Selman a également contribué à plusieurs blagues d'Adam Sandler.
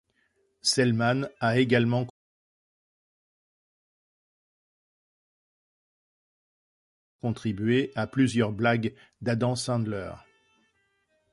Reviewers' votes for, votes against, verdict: 0, 2, rejected